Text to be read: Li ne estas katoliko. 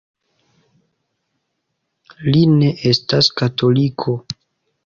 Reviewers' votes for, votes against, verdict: 1, 2, rejected